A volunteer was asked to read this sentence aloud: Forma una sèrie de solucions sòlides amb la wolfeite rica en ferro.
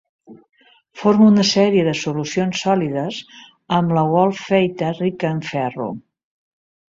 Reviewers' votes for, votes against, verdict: 2, 0, accepted